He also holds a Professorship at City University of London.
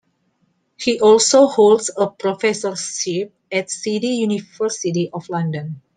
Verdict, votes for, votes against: accepted, 2, 0